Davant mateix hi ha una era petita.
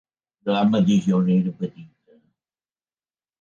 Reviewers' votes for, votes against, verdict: 0, 2, rejected